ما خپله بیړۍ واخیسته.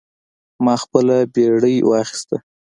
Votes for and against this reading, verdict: 2, 0, accepted